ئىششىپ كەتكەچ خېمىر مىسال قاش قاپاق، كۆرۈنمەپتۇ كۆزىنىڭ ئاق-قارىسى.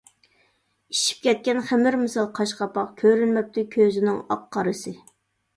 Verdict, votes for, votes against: rejected, 1, 2